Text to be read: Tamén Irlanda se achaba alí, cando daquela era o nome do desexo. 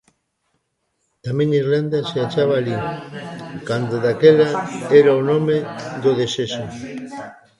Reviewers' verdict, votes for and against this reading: rejected, 0, 2